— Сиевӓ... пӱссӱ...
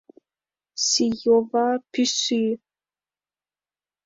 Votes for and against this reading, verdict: 0, 2, rejected